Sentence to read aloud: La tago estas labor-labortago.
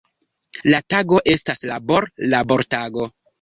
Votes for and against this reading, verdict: 2, 0, accepted